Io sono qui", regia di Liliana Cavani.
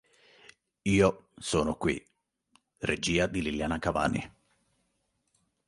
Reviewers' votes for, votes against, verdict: 2, 0, accepted